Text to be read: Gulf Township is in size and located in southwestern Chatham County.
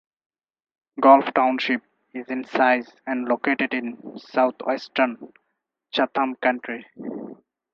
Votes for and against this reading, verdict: 2, 4, rejected